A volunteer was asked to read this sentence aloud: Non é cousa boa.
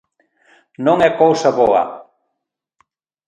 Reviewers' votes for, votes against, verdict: 2, 0, accepted